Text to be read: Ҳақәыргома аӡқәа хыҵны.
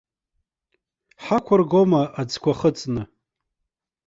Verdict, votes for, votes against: accepted, 2, 0